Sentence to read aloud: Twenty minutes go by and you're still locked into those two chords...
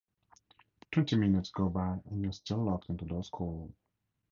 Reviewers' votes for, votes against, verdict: 2, 0, accepted